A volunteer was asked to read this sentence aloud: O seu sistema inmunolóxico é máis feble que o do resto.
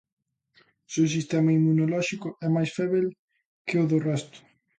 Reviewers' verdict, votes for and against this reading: rejected, 0, 2